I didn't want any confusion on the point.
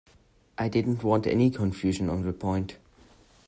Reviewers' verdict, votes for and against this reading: accepted, 2, 0